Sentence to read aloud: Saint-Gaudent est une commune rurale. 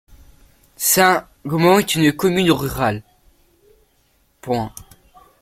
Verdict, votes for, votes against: rejected, 0, 2